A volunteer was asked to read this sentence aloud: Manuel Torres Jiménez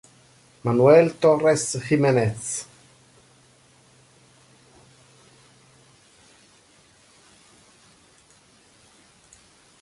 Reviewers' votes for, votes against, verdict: 2, 0, accepted